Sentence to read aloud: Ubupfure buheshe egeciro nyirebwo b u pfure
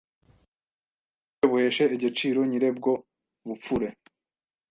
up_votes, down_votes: 1, 2